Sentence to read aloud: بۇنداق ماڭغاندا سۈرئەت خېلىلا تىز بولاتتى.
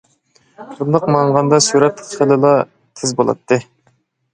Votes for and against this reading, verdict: 1, 2, rejected